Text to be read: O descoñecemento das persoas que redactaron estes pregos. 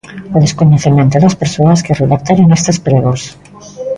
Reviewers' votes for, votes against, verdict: 2, 0, accepted